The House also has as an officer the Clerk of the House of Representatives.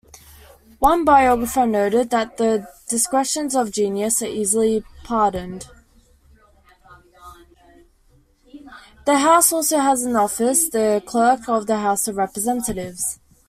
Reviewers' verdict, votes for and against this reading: rejected, 0, 2